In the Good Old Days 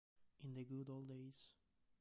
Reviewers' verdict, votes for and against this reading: accepted, 2, 1